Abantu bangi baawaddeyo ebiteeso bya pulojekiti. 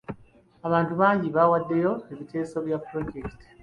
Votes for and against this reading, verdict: 2, 0, accepted